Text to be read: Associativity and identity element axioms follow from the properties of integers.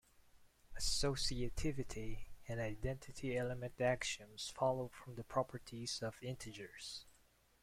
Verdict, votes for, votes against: rejected, 1, 2